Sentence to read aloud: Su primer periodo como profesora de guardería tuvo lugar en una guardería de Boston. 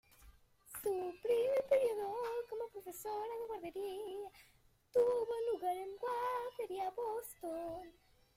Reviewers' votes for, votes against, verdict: 0, 2, rejected